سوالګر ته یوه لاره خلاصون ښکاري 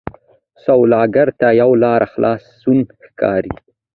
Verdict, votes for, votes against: accepted, 2, 0